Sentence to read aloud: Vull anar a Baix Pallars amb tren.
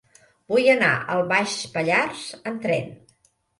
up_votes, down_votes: 0, 2